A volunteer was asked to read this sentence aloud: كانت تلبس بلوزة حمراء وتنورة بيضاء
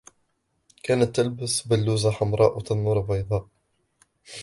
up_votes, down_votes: 1, 2